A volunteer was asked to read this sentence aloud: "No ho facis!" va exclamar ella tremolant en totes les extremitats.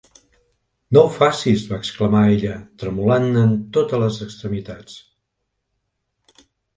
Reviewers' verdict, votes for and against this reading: accepted, 2, 0